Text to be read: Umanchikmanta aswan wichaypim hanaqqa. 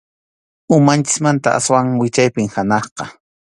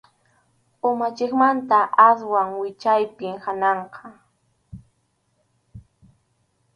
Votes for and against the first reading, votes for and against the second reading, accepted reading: 2, 0, 2, 2, first